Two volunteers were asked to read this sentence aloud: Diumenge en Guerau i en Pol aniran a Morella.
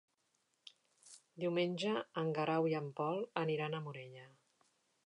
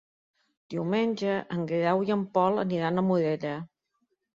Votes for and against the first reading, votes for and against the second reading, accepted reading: 3, 0, 1, 2, first